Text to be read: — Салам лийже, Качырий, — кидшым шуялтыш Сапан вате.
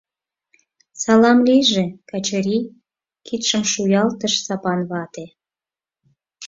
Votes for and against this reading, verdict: 4, 0, accepted